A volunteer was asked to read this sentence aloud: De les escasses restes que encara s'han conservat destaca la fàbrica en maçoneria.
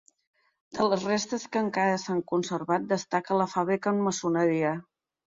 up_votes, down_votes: 1, 2